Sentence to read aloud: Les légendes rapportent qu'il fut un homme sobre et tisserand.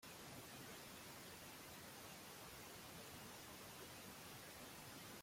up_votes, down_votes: 0, 2